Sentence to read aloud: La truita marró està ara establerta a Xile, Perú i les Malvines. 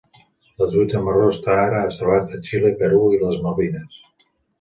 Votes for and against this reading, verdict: 2, 0, accepted